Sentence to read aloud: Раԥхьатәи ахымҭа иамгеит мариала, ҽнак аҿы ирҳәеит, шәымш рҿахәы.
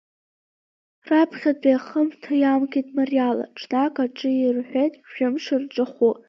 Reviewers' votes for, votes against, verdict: 2, 1, accepted